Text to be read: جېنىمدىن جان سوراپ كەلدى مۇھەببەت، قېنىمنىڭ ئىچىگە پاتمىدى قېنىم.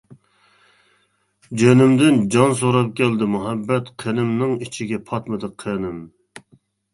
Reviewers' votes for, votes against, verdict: 2, 0, accepted